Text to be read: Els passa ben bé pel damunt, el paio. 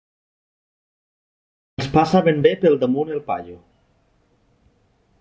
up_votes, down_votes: 1, 2